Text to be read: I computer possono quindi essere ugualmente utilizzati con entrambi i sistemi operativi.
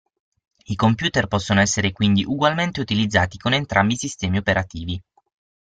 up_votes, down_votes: 6, 0